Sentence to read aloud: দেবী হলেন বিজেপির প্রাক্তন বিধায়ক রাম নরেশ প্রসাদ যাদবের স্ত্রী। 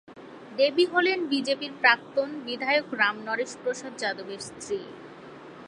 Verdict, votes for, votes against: accepted, 2, 0